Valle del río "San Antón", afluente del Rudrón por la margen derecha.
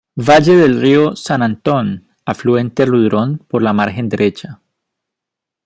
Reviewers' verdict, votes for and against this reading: rejected, 1, 2